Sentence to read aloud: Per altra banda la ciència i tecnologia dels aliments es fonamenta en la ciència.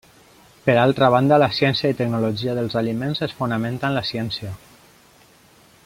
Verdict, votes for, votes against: accepted, 2, 0